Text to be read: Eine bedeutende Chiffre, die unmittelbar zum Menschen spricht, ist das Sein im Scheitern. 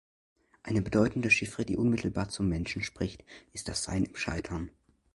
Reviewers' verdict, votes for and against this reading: accepted, 2, 0